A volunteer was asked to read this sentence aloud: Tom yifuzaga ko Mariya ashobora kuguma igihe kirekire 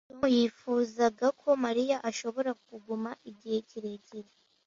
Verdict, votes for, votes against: rejected, 0, 2